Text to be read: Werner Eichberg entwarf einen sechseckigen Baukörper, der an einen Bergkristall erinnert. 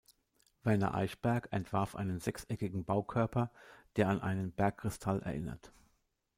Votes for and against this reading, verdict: 2, 0, accepted